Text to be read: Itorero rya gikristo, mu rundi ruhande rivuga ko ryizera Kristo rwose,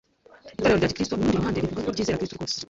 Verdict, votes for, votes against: rejected, 1, 2